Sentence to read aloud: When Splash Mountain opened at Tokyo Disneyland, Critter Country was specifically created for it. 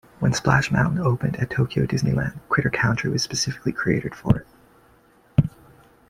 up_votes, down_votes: 2, 0